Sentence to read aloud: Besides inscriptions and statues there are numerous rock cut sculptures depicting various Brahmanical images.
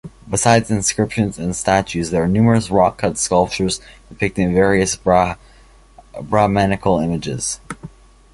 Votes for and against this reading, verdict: 1, 2, rejected